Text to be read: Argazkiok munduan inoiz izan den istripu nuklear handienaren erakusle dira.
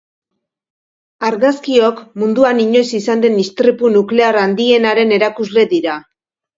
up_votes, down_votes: 2, 0